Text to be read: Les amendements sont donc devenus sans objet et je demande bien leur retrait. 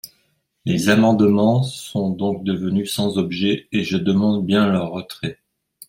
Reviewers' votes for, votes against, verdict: 2, 0, accepted